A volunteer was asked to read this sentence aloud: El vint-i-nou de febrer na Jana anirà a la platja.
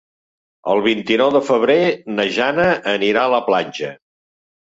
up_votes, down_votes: 3, 0